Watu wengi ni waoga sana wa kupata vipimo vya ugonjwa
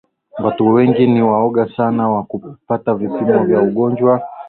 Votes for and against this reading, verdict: 2, 1, accepted